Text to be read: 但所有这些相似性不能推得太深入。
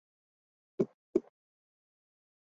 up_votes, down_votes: 0, 5